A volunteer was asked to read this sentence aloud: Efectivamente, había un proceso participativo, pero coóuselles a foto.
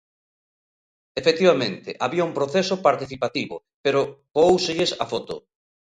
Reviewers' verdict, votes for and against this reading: accepted, 2, 0